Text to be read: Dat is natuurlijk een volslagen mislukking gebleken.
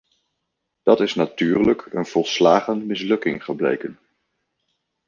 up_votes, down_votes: 2, 0